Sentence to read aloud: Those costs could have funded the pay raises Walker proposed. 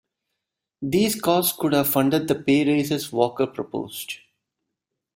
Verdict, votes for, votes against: accepted, 2, 1